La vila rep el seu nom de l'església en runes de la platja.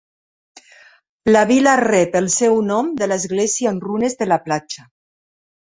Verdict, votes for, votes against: accepted, 3, 0